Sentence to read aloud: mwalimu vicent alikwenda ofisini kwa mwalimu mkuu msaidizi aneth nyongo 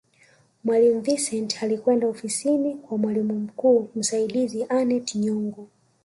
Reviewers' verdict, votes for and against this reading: rejected, 0, 2